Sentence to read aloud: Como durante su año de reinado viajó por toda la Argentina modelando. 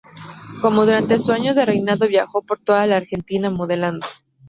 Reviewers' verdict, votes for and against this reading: rejected, 2, 4